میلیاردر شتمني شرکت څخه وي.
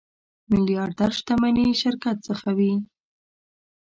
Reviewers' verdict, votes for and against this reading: accepted, 2, 0